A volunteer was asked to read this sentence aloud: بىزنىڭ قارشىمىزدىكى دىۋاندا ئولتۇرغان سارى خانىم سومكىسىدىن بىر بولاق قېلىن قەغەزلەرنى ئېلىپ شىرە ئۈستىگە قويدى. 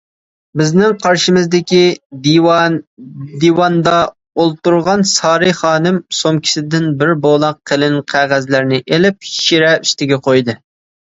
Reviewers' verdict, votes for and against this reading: rejected, 0, 2